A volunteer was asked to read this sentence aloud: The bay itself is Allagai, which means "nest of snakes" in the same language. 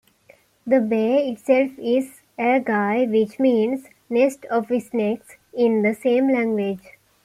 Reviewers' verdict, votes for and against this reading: accepted, 2, 0